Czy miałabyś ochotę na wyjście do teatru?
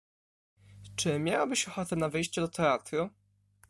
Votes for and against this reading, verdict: 2, 0, accepted